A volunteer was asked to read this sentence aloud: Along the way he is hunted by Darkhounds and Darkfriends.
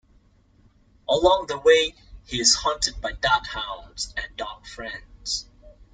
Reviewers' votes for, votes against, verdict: 2, 0, accepted